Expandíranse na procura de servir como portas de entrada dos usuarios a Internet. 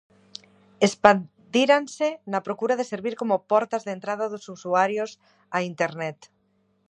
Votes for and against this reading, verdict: 2, 0, accepted